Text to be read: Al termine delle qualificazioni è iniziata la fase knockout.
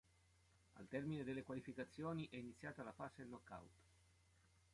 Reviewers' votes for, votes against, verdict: 2, 1, accepted